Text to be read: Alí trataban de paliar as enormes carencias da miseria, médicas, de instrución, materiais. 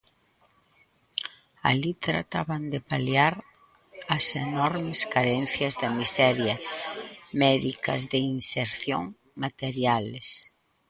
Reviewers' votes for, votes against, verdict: 1, 2, rejected